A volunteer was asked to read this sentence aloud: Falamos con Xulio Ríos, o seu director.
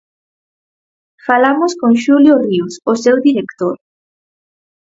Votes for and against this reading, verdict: 4, 0, accepted